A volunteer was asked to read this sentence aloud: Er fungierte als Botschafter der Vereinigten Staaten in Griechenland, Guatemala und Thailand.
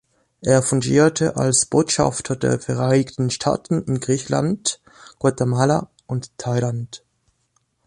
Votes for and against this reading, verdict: 1, 2, rejected